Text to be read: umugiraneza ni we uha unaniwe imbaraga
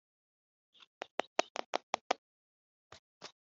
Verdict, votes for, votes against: rejected, 1, 2